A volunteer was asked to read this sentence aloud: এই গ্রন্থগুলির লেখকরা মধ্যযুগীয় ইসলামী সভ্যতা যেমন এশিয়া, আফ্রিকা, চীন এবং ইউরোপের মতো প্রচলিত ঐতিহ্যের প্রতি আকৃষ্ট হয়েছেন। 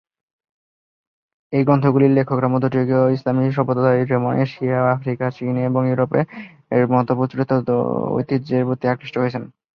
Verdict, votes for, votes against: rejected, 0, 2